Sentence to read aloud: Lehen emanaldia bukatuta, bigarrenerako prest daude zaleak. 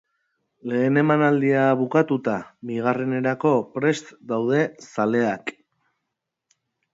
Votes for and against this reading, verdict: 2, 0, accepted